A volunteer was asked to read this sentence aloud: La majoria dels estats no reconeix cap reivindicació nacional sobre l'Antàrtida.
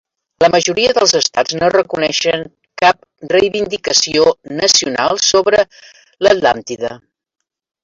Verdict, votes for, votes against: rejected, 0, 3